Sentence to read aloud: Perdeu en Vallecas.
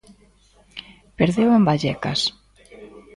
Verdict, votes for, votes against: rejected, 0, 2